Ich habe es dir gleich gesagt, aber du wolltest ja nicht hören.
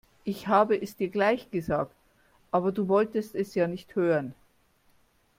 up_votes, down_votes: 0, 2